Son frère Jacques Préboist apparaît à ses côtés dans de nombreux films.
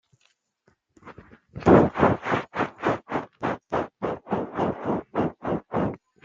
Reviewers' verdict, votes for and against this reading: rejected, 0, 2